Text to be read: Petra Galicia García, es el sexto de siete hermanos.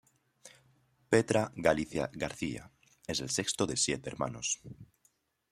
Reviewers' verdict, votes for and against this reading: accepted, 2, 0